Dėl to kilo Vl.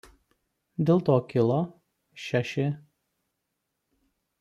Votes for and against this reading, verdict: 0, 2, rejected